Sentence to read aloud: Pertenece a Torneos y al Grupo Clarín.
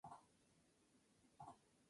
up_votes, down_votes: 0, 2